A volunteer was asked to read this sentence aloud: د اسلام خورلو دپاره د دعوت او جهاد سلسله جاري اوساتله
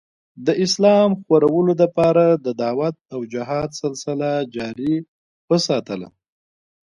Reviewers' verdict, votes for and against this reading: accepted, 2, 0